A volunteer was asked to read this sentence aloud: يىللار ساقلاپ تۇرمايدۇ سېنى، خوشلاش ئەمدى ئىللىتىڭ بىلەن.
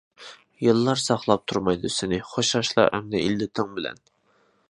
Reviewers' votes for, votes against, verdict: 0, 2, rejected